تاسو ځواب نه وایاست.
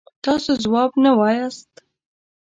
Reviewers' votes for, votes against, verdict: 2, 0, accepted